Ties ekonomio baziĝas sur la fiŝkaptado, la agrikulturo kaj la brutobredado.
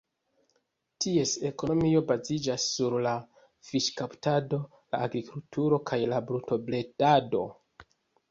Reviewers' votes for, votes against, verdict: 2, 1, accepted